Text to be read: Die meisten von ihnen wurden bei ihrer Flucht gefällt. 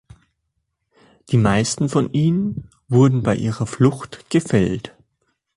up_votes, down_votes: 2, 0